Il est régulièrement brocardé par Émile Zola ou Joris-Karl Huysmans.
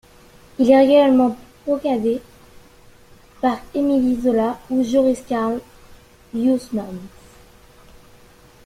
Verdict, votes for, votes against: rejected, 0, 2